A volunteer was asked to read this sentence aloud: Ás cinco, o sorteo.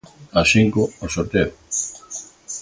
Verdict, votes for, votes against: accepted, 2, 0